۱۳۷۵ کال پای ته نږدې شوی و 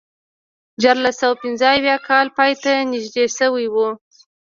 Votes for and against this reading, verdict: 0, 2, rejected